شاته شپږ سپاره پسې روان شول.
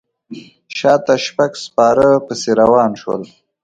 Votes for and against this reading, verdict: 2, 0, accepted